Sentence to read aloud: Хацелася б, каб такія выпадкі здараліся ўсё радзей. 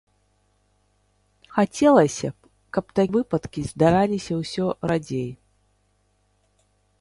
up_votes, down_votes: 0, 2